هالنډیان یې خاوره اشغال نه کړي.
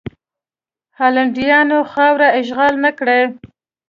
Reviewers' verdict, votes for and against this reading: rejected, 1, 2